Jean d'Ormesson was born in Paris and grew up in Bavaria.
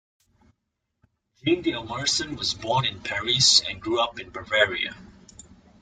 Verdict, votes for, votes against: rejected, 0, 2